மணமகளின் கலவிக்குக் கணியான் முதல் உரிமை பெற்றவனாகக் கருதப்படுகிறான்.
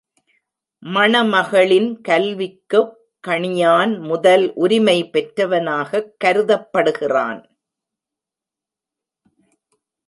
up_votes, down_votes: 0, 2